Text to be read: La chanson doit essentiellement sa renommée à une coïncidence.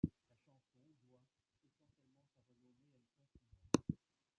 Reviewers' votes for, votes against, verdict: 0, 2, rejected